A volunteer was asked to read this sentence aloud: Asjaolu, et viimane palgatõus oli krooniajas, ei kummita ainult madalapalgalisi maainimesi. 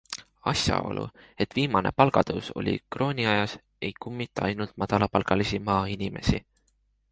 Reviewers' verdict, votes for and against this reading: accepted, 2, 0